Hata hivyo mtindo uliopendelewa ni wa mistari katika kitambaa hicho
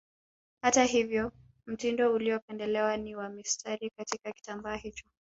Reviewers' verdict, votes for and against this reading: accepted, 2, 1